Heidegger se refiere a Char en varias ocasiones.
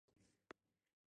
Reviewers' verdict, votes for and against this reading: rejected, 0, 6